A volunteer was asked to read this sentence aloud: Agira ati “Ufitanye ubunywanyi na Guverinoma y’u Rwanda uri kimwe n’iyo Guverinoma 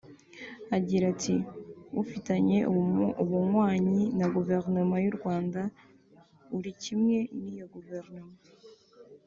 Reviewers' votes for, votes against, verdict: 1, 3, rejected